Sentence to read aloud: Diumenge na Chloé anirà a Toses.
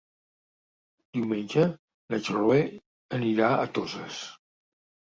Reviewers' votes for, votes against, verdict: 1, 2, rejected